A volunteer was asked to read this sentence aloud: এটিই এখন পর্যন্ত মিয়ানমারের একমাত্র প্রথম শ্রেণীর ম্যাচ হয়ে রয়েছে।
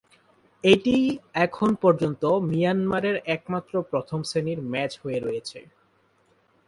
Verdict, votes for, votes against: accepted, 2, 0